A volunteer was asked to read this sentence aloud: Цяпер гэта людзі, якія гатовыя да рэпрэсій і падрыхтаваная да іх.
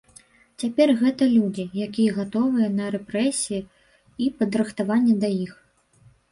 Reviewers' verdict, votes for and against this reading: rejected, 0, 2